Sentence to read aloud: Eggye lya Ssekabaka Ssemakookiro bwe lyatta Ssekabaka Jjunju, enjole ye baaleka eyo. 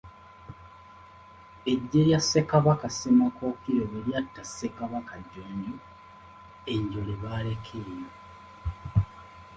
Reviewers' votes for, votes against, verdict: 2, 0, accepted